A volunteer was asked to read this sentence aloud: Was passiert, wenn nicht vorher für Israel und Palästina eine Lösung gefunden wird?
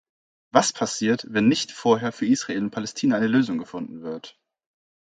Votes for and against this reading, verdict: 2, 0, accepted